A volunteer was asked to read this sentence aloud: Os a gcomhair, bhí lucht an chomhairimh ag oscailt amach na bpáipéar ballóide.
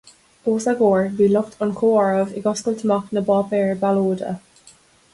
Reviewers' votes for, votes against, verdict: 0, 2, rejected